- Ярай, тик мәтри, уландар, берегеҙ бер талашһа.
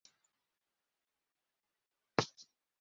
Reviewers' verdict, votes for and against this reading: rejected, 1, 2